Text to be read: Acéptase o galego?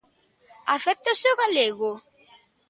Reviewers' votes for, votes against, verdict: 2, 0, accepted